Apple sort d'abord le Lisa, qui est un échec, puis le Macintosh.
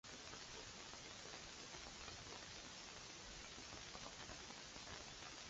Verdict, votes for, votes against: rejected, 0, 2